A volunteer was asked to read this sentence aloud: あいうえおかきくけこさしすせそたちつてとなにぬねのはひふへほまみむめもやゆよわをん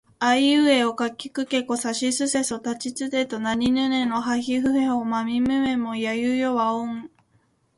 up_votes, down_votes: 1, 2